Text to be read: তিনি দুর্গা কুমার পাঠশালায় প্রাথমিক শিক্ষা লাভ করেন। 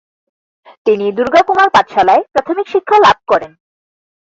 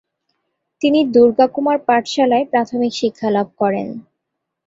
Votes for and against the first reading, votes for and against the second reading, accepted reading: 2, 4, 2, 0, second